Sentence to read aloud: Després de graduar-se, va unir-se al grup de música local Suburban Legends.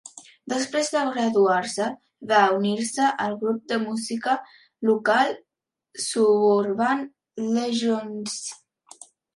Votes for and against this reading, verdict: 2, 1, accepted